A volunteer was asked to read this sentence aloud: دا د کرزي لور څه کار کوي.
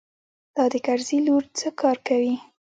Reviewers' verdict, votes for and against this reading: accepted, 3, 0